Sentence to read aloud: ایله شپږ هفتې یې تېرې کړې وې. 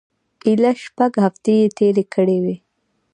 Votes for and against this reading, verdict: 0, 2, rejected